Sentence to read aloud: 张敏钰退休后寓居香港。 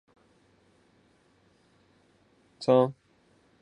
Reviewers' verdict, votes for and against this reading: rejected, 0, 3